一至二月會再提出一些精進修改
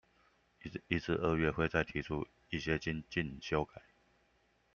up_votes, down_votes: 0, 2